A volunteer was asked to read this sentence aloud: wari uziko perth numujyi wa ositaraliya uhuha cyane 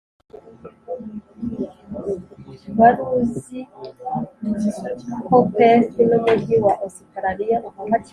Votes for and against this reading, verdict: 1, 2, rejected